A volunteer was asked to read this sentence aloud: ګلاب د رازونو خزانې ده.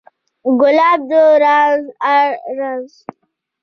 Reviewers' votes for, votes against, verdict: 2, 0, accepted